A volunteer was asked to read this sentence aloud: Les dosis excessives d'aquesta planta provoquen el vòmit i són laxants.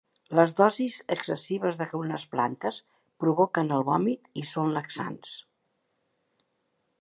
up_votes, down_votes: 0, 2